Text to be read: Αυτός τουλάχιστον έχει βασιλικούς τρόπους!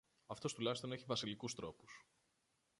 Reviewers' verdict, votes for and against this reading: rejected, 0, 2